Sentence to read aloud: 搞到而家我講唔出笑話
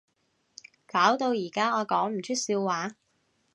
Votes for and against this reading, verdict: 2, 0, accepted